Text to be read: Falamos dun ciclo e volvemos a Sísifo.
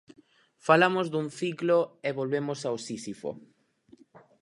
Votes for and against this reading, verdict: 0, 4, rejected